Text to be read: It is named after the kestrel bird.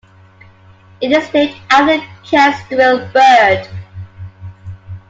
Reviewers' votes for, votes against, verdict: 0, 2, rejected